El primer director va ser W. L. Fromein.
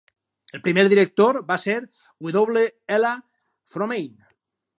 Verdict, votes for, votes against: accepted, 4, 2